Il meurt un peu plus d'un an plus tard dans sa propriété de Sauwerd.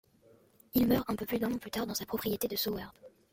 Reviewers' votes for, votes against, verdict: 0, 2, rejected